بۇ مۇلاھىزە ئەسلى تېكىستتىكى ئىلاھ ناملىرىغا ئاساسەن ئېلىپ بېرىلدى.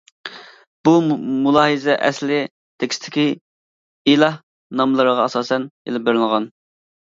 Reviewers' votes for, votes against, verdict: 0, 2, rejected